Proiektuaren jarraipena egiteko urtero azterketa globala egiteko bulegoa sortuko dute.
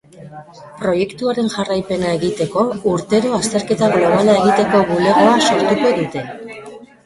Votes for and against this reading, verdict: 1, 2, rejected